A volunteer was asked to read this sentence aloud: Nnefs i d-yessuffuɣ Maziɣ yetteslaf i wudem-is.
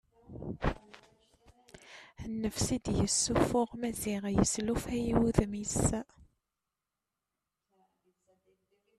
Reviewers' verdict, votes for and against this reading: rejected, 0, 2